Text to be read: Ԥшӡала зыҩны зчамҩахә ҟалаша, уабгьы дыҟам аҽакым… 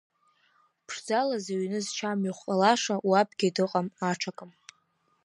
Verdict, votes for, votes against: rejected, 1, 2